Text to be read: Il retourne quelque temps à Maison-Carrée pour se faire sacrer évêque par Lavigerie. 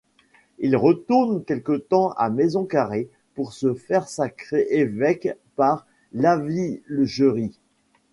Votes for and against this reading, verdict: 1, 2, rejected